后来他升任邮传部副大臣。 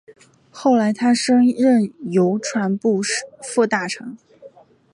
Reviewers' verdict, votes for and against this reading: accepted, 6, 0